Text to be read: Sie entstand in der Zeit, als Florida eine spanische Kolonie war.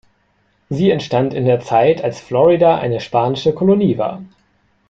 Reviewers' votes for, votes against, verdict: 2, 0, accepted